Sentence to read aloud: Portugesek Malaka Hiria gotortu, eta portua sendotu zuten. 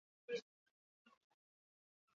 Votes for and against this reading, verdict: 0, 2, rejected